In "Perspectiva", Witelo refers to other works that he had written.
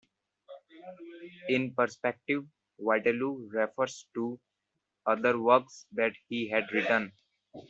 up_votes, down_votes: 1, 3